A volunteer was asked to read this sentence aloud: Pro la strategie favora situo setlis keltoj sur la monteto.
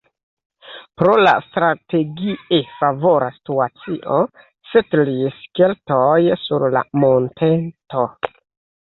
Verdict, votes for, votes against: rejected, 1, 2